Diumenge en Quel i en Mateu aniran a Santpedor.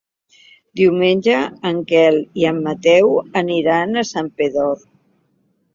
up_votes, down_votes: 4, 0